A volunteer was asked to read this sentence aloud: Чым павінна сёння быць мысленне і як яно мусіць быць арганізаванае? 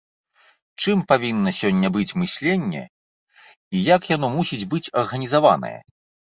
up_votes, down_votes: 2, 0